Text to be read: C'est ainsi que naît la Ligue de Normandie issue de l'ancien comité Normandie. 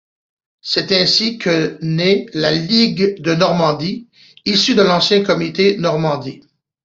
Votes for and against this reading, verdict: 2, 0, accepted